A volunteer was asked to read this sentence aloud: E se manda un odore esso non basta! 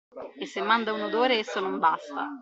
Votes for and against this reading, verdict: 2, 0, accepted